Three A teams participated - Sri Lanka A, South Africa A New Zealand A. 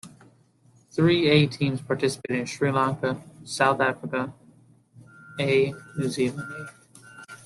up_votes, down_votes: 0, 2